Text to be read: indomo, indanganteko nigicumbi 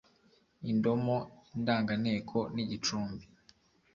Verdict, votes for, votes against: accepted, 2, 0